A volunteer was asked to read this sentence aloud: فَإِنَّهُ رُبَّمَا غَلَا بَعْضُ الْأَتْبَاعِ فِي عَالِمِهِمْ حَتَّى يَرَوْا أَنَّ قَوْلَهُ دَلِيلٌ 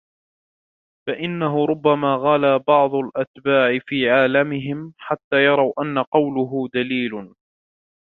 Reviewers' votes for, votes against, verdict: 0, 2, rejected